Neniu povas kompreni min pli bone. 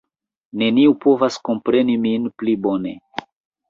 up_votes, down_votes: 2, 0